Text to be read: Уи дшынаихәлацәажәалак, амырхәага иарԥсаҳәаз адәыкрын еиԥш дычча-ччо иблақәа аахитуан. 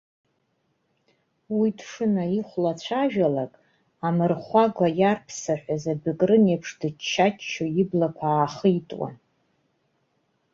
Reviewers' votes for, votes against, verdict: 0, 2, rejected